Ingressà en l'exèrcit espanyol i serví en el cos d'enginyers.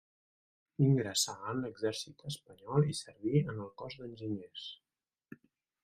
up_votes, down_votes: 1, 2